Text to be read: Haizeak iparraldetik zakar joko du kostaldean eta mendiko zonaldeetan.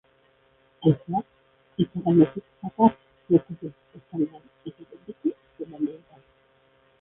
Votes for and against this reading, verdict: 0, 2, rejected